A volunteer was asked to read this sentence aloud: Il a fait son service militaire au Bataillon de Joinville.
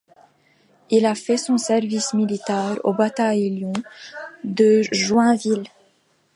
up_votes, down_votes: 1, 2